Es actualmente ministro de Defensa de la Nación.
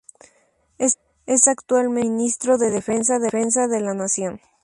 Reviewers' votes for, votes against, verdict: 0, 2, rejected